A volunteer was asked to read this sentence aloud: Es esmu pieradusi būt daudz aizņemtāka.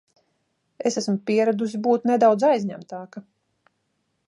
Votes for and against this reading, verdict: 0, 2, rejected